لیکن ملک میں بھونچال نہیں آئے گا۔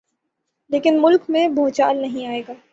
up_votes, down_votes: 9, 0